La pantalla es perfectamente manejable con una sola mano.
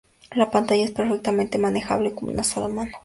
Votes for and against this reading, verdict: 2, 0, accepted